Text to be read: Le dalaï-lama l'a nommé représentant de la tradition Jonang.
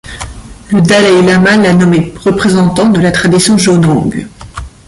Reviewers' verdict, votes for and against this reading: accepted, 2, 1